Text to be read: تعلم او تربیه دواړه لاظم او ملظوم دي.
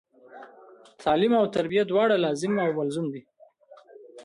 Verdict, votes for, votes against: rejected, 0, 2